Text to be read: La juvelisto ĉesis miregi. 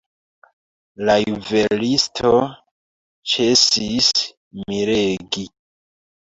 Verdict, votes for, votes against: rejected, 1, 2